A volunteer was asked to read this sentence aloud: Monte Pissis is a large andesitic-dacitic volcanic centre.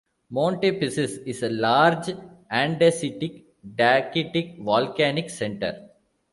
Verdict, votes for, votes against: accepted, 2, 0